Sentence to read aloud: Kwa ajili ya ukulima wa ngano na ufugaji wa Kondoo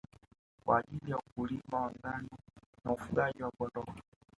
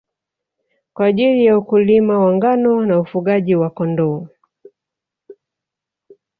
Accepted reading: first